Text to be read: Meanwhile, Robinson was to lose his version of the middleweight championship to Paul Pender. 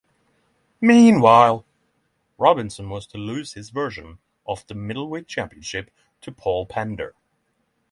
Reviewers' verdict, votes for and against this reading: accepted, 3, 0